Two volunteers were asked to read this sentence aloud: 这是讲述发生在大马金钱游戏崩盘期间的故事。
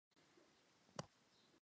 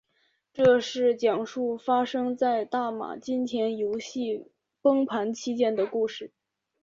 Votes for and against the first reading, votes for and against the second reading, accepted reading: 0, 2, 4, 1, second